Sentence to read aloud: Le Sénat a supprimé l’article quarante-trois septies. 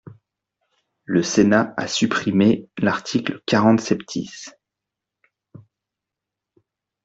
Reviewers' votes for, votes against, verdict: 0, 2, rejected